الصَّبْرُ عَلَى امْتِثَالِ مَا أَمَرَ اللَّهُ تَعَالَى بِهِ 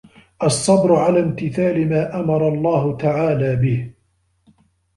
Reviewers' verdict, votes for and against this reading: accepted, 2, 0